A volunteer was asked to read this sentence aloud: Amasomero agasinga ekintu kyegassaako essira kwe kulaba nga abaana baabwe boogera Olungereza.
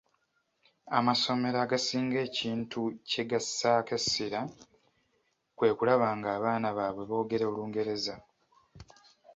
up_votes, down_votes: 2, 0